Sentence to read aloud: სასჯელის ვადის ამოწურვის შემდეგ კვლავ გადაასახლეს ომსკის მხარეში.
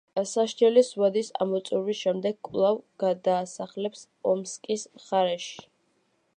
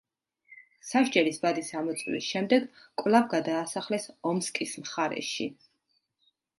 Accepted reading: second